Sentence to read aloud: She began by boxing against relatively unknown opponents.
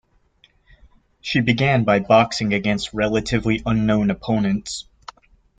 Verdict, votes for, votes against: accepted, 2, 0